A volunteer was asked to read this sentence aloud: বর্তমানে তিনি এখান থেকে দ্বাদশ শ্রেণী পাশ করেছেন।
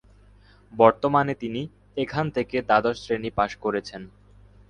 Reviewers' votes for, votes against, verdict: 4, 0, accepted